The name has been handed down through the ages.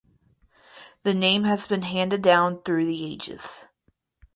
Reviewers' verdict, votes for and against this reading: rejected, 2, 2